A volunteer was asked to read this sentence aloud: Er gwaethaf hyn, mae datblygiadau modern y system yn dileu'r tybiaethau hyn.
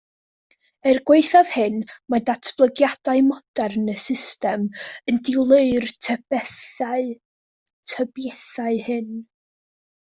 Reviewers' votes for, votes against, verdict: 1, 2, rejected